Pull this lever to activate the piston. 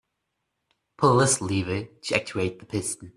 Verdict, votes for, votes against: rejected, 0, 2